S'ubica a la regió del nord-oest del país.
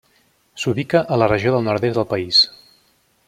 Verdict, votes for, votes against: rejected, 1, 2